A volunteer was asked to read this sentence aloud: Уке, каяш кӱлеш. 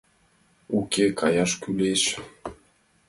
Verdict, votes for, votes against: accepted, 2, 1